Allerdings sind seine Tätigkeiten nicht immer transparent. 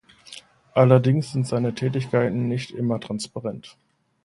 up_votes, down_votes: 2, 0